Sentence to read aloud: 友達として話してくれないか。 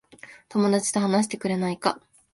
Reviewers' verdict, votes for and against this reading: rejected, 0, 2